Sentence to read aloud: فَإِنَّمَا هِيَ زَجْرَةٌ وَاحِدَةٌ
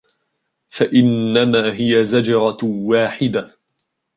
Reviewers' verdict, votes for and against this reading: accepted, 2, 0